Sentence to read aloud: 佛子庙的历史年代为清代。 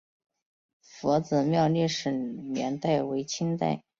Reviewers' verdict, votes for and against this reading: accepted, 2, 0